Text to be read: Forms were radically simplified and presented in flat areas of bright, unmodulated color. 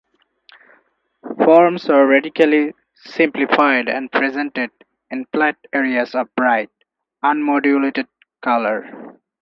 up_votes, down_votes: 2, 0